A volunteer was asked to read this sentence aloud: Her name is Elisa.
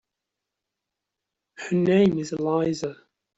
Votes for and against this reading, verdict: 1, 2, rejected